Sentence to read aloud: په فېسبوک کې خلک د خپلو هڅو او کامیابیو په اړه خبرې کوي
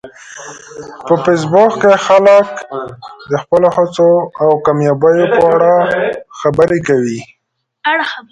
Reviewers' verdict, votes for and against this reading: accepted, 2, 1